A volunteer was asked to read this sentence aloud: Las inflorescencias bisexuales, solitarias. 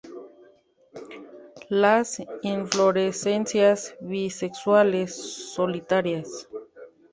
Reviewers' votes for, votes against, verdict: 2, 0, accepted